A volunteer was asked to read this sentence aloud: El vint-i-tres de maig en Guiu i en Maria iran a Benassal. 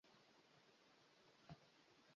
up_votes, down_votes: 0, 2